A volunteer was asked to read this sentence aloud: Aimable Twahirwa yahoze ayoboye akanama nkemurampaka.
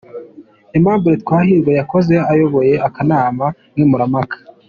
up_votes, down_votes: 2, 1